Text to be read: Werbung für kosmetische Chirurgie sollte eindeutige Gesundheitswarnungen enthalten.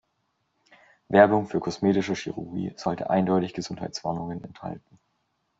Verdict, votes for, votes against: rejected, 1, 2